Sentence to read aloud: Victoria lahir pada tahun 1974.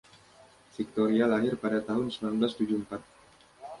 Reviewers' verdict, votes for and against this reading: rejected, 0, 2